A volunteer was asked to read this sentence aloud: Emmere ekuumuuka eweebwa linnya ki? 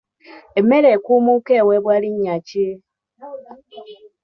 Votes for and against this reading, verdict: 2, 0, accepted